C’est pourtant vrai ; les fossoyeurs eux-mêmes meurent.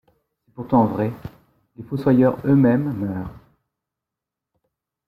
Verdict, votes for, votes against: rejected, 2, 3